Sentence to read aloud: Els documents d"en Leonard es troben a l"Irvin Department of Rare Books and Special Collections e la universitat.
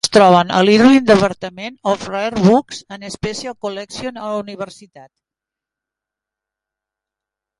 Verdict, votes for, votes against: rejected, 0, 3